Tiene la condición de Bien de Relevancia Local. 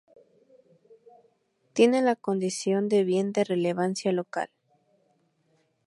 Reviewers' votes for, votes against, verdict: 0, 2, rejected